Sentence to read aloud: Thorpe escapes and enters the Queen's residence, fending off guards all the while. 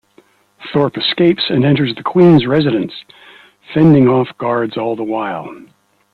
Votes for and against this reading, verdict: 2, 0, accepted